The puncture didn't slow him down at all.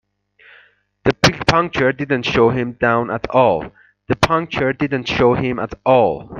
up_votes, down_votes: 0, 2